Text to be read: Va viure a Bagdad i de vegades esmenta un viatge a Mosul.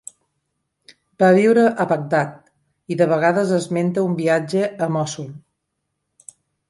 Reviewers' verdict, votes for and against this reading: accepted, 2, 1